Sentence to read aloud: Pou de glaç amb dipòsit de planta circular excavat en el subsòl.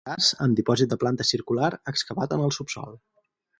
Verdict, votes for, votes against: rejected, 0, 4